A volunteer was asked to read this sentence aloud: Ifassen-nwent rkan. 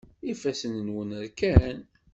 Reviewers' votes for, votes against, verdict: 0, 2, rejected